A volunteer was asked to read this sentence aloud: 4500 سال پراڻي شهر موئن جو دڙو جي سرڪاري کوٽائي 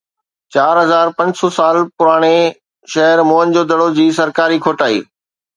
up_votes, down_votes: 0, 2